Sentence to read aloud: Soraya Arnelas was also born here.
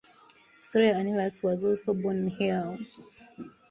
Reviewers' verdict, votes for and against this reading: rejected, 0, 2